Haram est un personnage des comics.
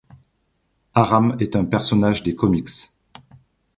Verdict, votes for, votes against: accepted, 2, 0